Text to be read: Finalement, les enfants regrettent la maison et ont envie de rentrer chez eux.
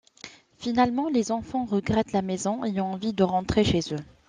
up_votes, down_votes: 2, 0